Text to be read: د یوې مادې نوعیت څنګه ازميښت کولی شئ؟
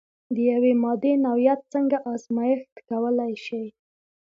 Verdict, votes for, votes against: accepted, 2, 0